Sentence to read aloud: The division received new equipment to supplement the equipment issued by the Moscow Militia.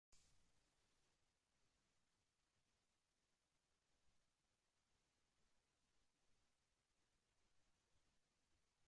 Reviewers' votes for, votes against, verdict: 0, 2, rejected